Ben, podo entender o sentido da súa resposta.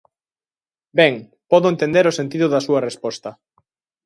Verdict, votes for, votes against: accepted, 2, 0